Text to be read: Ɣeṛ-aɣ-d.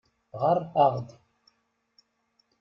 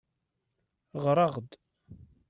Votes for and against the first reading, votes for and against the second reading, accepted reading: 1, 2, 2, 0, second